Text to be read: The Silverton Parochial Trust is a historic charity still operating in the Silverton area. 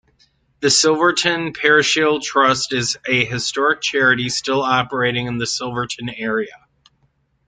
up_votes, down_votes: 2, 0